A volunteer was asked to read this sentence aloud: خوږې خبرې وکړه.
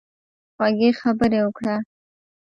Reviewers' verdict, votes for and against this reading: accepted, 2, 1